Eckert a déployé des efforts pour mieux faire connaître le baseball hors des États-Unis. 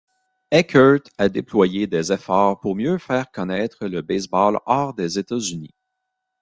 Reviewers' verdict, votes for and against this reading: accepted, 2, 0